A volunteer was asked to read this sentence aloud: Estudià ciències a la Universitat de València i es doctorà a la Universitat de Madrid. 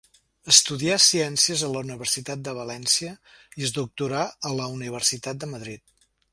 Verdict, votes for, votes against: accepted, 4, 0